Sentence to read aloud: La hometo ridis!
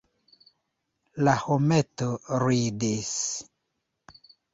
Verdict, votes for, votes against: accepted, 3, 0